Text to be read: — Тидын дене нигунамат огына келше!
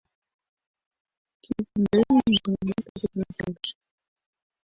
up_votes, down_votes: 0, 2